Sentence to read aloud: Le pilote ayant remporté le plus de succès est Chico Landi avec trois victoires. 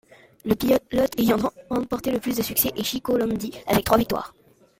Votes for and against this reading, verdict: 0, 2, rejected